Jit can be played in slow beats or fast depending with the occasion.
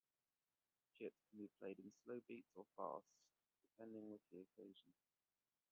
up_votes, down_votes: 2, 1